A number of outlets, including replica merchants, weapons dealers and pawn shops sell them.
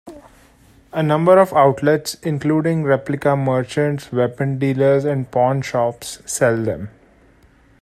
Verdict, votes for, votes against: rejected, 0, 2